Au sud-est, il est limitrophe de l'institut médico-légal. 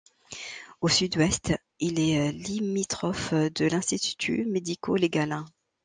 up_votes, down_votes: 1, 2